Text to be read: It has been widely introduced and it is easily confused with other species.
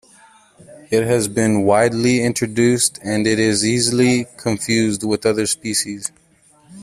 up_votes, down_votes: 2, 0